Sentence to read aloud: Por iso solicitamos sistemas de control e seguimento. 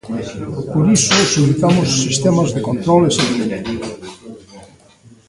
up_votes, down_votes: 1, 2